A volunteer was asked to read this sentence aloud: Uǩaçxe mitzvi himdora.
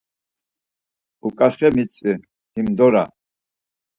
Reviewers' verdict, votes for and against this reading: accepted, 4, 0